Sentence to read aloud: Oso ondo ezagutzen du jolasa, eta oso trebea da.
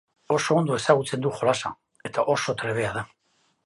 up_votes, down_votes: 2, 0